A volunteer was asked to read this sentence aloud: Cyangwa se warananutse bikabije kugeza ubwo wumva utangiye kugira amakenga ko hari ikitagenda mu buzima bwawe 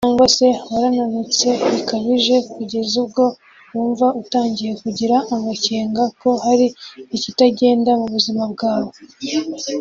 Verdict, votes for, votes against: accepted, 2, 0